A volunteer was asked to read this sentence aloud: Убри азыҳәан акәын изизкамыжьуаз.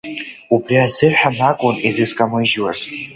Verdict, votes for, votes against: accepted, 2, 1